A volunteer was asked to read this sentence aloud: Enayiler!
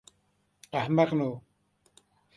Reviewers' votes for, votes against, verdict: 0, 2, rejected